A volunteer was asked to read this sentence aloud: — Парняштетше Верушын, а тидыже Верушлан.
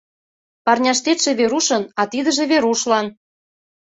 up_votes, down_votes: 2, 0